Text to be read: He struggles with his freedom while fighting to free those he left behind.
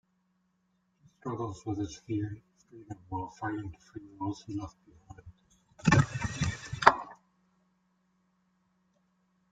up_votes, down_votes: 1, 2